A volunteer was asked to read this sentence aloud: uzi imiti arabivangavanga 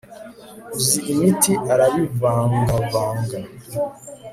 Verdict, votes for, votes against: accepted, 2, 0